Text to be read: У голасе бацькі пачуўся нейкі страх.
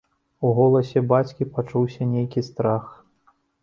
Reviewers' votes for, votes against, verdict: 2, 0, accepted